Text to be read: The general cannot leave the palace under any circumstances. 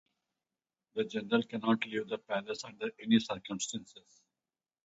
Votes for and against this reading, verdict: 2, 0, accepted